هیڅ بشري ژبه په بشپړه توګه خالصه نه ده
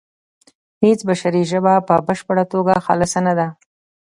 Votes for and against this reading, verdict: 2, 0, accepted